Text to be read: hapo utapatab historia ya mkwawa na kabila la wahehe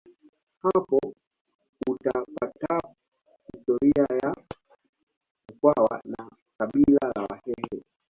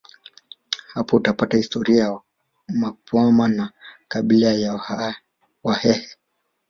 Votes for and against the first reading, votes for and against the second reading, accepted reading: 2, 0, 1, 2, first